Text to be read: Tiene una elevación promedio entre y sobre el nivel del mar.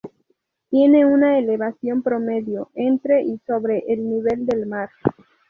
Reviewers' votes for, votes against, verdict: 2, 0, accepted